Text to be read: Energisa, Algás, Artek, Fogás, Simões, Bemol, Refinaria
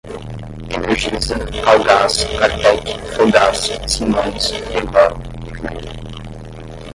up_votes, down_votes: 0, 5